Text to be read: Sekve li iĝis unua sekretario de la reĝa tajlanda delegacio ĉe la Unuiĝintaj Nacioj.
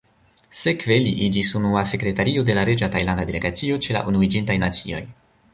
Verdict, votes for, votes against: rejected, 1, 2